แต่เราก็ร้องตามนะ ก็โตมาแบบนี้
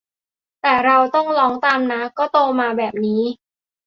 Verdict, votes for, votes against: rejected, 0, 2